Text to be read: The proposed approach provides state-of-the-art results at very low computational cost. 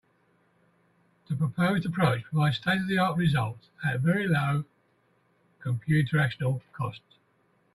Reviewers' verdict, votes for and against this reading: rejected, 0, 3